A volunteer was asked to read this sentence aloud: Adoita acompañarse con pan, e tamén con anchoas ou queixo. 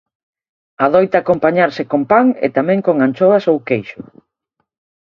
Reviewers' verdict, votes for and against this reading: accepted, 2, 0